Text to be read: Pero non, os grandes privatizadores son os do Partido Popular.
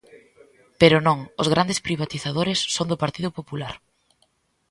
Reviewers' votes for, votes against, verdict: 0, 2, rejected